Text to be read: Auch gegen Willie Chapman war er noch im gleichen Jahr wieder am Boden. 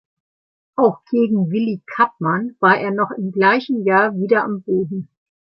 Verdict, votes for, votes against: rejected, 0, 2